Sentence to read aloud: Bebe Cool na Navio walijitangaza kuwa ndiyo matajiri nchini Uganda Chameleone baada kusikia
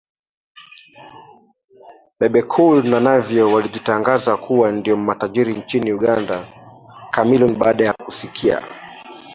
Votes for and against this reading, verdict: 1, 2, rejected